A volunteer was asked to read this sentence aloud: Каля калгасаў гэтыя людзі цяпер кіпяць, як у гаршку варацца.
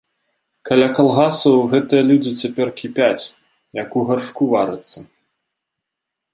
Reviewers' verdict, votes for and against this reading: accepted, 2, 0